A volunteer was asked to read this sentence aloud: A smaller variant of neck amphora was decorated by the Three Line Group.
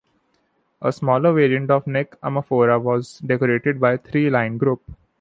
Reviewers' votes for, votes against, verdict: 1, 2, rejected